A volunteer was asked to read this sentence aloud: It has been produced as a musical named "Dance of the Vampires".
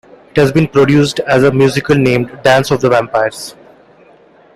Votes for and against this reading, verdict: 2, 0, accepted